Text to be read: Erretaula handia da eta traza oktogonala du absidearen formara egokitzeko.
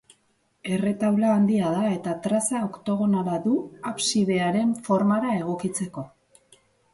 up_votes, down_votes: 2, 0